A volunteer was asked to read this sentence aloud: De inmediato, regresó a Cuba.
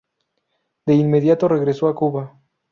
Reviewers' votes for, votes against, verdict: 2, 0, accepted